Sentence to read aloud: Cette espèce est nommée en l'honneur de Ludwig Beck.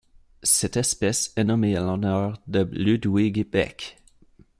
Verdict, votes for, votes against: accepted, 2, 0